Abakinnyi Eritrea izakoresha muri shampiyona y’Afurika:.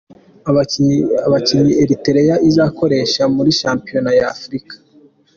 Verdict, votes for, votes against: accepted, 2, 0